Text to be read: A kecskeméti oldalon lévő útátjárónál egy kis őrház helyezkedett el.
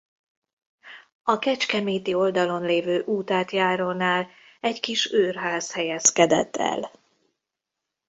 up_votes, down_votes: 2, 0